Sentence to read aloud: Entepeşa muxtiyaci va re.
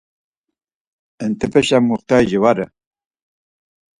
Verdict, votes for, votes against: accepted, 4, 2